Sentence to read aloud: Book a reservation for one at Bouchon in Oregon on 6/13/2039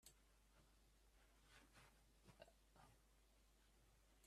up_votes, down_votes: 0, 2